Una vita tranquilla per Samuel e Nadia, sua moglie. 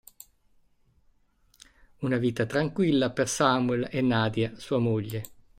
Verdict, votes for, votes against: accepted, 2, 0